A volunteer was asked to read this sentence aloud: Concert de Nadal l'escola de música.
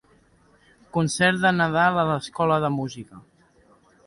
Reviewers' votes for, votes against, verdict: 2, 0, accepted